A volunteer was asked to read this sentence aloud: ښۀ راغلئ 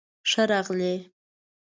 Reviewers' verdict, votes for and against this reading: rejected, 1, 2